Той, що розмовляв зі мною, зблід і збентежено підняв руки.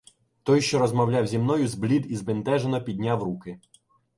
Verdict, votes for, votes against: accepted, 2, 0